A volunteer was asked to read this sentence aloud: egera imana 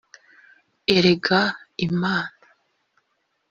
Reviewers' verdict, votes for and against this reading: rejected, 1, 2